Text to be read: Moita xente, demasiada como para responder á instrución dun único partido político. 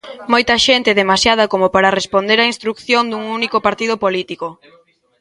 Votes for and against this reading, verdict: 2, 1, accepted